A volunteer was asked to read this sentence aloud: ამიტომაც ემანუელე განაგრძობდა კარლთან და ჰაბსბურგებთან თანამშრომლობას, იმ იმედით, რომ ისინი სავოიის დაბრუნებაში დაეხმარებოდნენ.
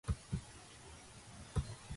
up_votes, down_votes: 0, 2